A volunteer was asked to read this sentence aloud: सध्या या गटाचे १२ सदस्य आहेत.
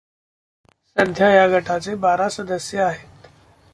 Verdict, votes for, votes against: rejected, 0, 2